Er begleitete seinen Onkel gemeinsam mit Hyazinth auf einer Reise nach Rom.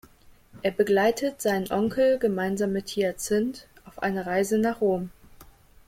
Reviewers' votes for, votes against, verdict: 0, 2, rejected